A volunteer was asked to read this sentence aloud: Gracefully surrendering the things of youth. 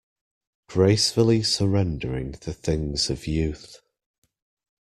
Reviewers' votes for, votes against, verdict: 2, 0, accepted